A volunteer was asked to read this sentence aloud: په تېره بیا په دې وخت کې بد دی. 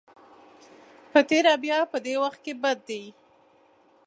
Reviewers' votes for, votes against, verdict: 2, 0, accepted